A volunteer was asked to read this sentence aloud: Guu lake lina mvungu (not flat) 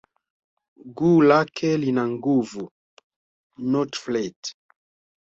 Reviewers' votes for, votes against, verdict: 1, 2, rejected